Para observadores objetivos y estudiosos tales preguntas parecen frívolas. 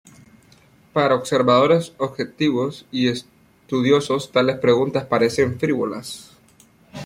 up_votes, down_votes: 2, 0